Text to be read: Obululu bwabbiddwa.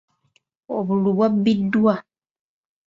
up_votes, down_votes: 2, 0